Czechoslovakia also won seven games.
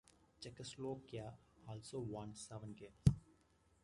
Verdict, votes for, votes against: accepted, 2, 1